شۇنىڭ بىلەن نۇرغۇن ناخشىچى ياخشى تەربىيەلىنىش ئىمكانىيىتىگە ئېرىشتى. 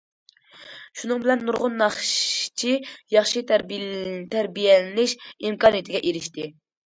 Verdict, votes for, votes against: rejected, 0, 2